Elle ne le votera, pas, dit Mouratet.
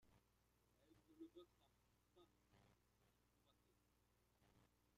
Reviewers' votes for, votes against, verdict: 0, 2, rejected